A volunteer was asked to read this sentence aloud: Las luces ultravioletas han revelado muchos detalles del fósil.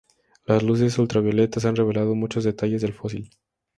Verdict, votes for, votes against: accepted, 2, 0